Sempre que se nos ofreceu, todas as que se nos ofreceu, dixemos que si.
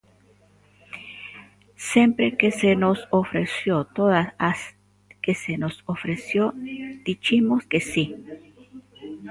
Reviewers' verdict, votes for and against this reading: rejected, 0, 2